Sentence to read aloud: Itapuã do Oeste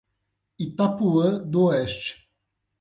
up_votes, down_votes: 8, 0